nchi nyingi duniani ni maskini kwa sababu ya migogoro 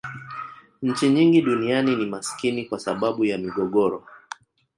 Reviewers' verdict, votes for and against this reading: accepted, 2, 0